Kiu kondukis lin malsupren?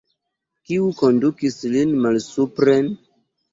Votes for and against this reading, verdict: 2, 1, accepted